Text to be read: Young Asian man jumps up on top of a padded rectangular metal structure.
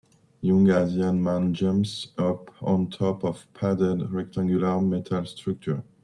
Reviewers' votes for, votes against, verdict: 0, 2, rejected